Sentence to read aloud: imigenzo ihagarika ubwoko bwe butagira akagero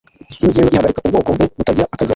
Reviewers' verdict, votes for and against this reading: rejected, 1, 2